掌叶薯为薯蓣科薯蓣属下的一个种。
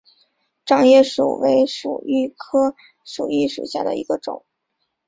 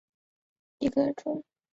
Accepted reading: first